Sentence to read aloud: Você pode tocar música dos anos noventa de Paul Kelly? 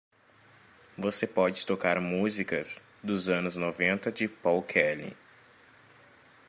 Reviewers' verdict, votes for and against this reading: rejected, 0, 2